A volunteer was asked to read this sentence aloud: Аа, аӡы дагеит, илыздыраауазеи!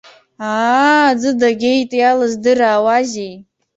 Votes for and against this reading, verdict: 0, 2, rejected